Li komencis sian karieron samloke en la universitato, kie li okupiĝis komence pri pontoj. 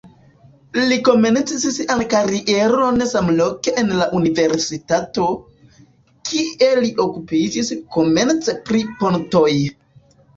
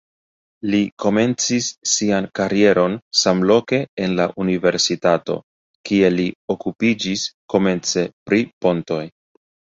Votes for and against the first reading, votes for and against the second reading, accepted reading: 0, 2, 2, 0, second